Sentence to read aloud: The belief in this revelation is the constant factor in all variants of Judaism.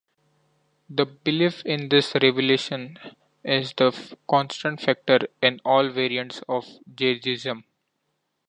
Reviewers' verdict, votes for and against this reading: rejected, 0, 2